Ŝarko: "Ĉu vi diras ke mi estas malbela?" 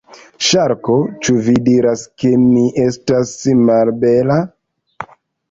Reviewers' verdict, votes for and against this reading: rejected, 1, 2